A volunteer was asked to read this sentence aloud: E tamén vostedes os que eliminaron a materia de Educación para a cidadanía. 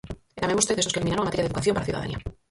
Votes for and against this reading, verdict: 0, 4, rejected